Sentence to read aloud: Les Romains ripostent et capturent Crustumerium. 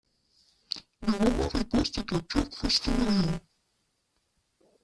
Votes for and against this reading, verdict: 0, 2, rejected